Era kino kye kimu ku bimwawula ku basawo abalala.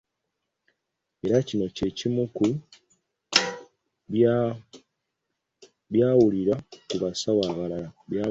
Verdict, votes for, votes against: rejected, 0, 2